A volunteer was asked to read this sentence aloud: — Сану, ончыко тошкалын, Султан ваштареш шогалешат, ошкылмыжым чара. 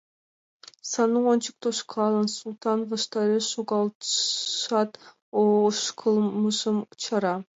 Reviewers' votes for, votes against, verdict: 1, 3, rejected